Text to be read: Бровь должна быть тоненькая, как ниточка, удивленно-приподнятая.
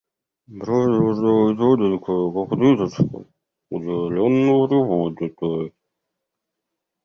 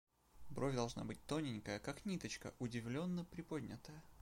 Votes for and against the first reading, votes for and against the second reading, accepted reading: 0, 2, 2, 0, second